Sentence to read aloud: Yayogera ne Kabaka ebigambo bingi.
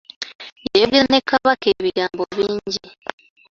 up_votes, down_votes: 2, 1